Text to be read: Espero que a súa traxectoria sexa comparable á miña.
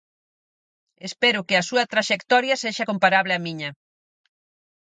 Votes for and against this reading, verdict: 4, 0, accepted